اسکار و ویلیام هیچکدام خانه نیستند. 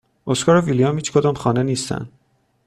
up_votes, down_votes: 2, 0